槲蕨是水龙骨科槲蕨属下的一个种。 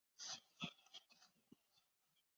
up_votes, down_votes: 0, 5